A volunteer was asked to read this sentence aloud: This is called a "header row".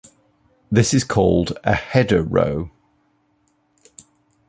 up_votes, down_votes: 2, 0